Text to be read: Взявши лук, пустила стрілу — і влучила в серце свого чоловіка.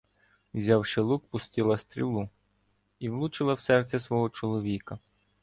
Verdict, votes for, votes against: accepted, 2, 0